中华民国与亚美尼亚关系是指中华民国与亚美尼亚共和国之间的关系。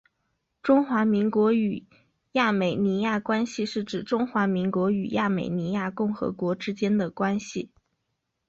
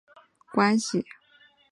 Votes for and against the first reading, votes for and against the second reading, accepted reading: 3, 1, 0, 3, first